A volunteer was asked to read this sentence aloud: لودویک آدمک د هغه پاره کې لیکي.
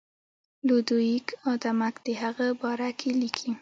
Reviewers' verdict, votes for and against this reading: rejected, 0, 2